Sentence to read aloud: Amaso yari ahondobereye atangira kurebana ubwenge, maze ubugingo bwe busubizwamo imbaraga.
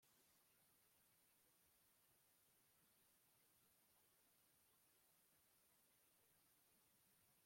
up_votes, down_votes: 3, 4